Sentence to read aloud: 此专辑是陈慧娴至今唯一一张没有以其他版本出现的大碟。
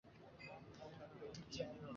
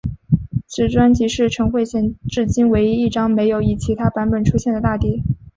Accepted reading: second